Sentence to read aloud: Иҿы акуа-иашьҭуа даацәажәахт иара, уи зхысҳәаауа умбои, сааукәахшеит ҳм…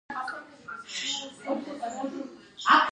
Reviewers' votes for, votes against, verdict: 1, 2, rejected